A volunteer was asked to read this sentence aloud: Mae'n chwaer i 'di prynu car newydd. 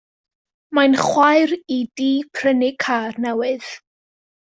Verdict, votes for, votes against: accepted, 2, 0